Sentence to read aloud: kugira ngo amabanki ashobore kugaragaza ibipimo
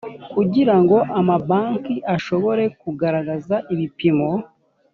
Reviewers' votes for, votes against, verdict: 2, 0, accepted